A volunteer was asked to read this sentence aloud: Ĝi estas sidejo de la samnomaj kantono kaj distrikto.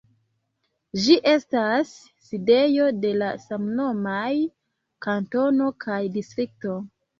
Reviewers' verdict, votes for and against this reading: rejected, 0, 2